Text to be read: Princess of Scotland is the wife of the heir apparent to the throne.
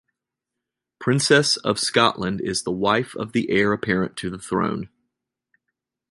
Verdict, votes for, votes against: accepted, 2, 0